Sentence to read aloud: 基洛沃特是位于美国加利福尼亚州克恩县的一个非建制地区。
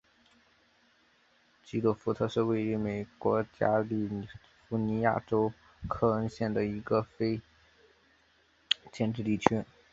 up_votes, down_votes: 4, 1